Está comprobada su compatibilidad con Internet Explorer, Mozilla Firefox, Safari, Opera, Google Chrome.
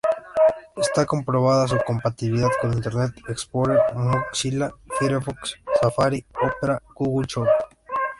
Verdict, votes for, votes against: rejected, 0, 2